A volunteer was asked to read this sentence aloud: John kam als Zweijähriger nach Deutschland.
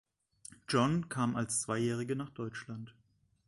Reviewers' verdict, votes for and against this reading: rejected, 1, 2